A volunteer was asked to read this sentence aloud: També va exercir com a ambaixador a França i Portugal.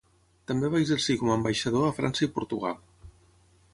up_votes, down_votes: 0, 3